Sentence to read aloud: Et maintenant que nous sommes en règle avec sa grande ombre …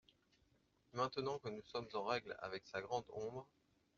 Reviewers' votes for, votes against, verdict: 2, 0, accepted